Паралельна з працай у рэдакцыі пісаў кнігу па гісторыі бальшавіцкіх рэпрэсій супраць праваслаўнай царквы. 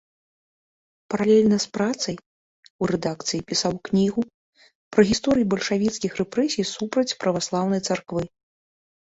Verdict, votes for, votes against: rejected, 0, 2